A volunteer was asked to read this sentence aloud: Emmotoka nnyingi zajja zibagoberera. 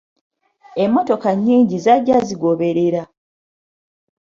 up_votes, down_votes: 1, 2